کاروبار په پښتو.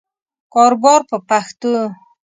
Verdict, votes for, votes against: accepted, 2, 0